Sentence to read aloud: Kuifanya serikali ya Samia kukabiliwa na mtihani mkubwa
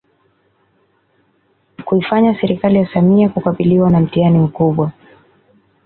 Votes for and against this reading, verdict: 2, 0, accepted